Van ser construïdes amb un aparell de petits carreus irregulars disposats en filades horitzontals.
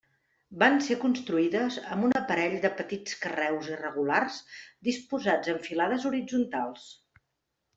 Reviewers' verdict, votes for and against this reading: accepted, 2, 0